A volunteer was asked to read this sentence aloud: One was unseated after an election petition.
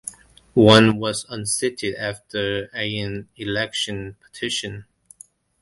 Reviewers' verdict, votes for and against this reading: accepted, 2, 1